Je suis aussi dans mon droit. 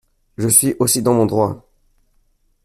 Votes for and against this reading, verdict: 2, 0, accepted